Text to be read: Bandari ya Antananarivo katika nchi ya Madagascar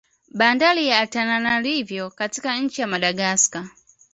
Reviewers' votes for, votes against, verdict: 2, 0, accepted